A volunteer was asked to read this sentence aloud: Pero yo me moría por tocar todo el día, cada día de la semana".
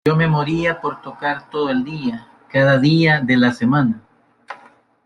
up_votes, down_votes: 1, 2